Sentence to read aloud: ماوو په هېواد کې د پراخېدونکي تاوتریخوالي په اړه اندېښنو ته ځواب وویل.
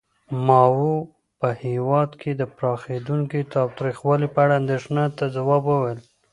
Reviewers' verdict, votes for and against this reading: rejected, 1, 2